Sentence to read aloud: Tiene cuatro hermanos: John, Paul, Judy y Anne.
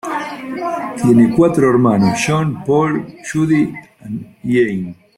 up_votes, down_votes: 2, 1